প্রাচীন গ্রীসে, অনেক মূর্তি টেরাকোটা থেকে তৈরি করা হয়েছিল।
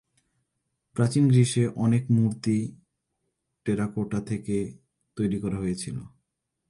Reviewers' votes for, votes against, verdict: 5, 0, accepted